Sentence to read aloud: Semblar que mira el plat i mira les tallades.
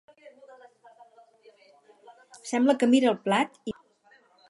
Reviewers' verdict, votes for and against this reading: rejected, 0, 4